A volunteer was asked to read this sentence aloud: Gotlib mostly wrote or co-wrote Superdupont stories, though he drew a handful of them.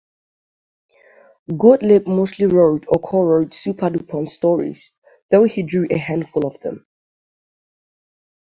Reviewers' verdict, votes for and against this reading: accepted, 3, 0